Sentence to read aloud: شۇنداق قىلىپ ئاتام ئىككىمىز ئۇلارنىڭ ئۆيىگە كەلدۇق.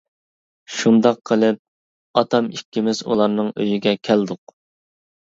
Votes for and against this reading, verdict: 2, 0, accepted